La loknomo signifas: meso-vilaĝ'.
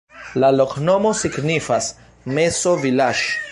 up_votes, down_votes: 0, 2